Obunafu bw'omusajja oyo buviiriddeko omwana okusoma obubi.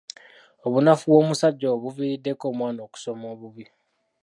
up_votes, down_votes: 3, 1